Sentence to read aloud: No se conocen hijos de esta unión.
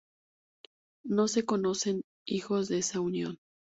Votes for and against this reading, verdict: 4, 4, rejected